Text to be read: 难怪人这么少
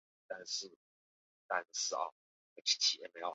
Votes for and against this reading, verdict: 0, 2, rejected